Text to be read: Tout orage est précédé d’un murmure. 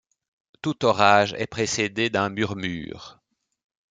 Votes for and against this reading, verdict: 2, 0, accepted